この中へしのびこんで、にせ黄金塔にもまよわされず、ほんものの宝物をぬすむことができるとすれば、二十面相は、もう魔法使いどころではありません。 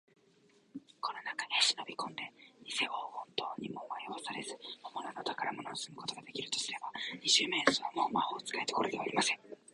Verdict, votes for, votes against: accepted, 2, 1